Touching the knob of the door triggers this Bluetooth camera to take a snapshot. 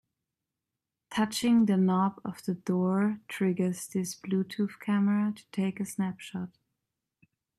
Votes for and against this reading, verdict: 2, 0, accepted